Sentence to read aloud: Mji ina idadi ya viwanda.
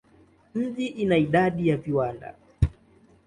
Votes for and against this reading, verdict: 2, 0, accepted